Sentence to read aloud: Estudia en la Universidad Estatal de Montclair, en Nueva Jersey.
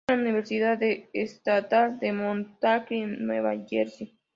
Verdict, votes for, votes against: rejected, 0, 2